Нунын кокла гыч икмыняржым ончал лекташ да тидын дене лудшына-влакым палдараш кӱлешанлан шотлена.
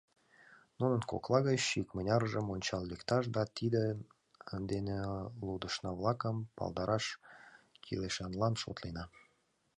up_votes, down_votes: 2, 1